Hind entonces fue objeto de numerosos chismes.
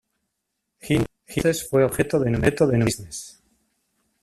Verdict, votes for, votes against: rejected, 0, 2